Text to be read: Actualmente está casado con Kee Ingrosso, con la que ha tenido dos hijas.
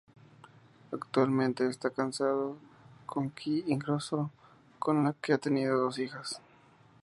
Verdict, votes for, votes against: rejected, 0, 2